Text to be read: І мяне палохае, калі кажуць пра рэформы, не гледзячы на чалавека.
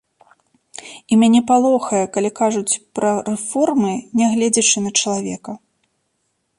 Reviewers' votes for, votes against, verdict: 2, 0, accepted